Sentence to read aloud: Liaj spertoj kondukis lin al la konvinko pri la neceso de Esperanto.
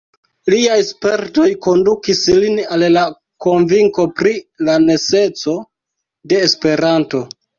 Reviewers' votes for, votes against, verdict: 2, 0, accepted